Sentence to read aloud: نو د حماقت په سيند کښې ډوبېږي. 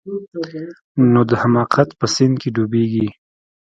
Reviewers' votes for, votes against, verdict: 2, 0, accepted